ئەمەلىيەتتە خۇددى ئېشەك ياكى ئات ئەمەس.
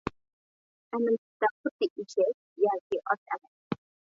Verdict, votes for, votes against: rejected, 1, 2